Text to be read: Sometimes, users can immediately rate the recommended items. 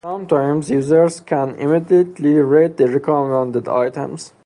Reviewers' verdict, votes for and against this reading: accepted, 2, 0